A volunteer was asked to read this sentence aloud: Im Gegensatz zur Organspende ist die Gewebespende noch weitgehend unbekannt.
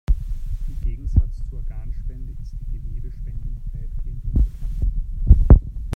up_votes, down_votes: 0, 2